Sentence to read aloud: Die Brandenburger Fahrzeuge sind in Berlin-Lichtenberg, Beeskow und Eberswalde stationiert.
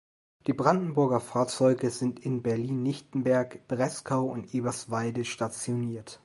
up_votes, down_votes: 2, 1